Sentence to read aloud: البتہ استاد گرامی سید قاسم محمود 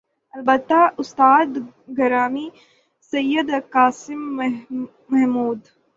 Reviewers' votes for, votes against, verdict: 3, 3, rejected